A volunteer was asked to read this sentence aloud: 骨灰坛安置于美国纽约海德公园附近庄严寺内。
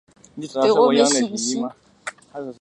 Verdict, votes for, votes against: rejected, 0, 2